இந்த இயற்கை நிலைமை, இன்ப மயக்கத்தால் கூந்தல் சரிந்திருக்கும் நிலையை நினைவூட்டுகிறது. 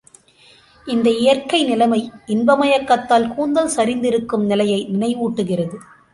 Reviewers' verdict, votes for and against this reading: accepted, 3, 0